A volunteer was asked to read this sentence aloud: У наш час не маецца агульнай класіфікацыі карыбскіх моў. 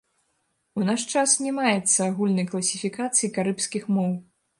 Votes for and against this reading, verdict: 1, 2, rejected